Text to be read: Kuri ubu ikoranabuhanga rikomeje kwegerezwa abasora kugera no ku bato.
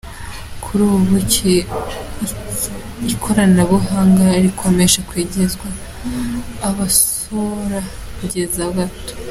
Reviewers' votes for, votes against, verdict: 0, 2, rejected